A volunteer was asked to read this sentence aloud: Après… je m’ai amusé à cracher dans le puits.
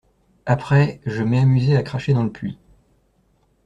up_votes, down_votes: 2, 0